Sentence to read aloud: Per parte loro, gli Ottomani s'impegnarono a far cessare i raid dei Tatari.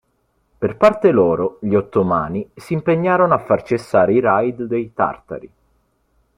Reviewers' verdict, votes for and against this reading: rejected, 1, 2